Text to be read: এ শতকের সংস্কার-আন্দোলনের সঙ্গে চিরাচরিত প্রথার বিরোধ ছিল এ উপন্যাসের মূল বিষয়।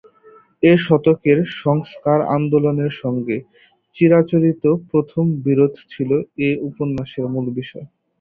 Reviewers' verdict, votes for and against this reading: rejected, 4, 4